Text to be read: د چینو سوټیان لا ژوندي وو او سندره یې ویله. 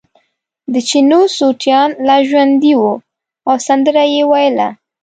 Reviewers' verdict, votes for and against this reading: accepted, 2, 0